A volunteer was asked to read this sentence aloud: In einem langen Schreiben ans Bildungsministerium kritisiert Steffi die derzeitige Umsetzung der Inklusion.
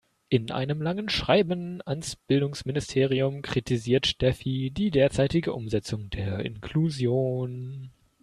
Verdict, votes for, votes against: accepted, 2, 0